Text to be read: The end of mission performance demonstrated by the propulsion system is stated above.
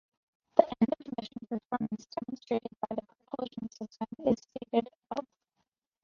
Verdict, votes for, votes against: rejected, 0, 2